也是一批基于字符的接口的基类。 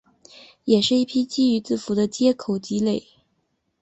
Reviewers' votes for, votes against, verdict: 1, 3, rejected